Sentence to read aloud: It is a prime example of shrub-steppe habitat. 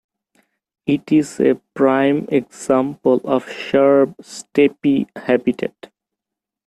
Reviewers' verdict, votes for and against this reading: rejected, 1, 2